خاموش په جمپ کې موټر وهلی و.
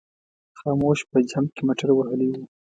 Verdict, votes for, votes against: accepted, 3, 0